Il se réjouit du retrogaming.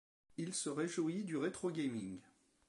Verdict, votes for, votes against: accepted, 2, 0